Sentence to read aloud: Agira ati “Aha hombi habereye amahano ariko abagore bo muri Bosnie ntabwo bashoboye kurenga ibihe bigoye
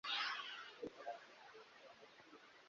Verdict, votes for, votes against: rejected, 0, 2